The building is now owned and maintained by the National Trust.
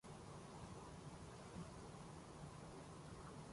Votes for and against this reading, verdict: 0, 2, rejected